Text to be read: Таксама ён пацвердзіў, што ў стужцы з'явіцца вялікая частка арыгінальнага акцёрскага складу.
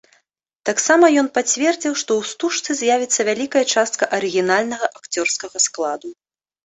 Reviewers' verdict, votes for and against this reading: accepted, 2, 0